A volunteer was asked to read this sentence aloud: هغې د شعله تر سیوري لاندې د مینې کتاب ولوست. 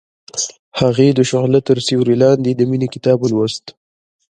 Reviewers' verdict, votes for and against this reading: accepted, 2, 1